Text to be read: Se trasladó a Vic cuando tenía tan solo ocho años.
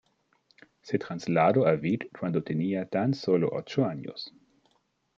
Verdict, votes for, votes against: accepted, 2, 0